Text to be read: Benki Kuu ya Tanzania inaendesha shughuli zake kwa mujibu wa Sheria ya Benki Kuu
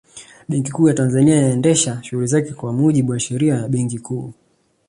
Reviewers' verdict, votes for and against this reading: accepted, 2, 0